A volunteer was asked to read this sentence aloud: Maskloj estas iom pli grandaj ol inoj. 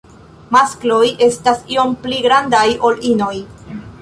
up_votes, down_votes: 2, 0